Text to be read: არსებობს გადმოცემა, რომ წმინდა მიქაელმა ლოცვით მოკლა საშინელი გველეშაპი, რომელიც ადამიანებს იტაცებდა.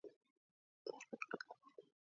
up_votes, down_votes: 0, 2